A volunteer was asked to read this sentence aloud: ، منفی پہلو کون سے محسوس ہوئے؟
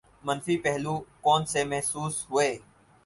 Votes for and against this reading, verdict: 4, 0, accepted